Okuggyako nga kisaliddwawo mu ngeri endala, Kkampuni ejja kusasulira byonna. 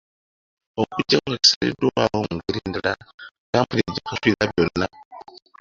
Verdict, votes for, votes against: rejected, 0, 2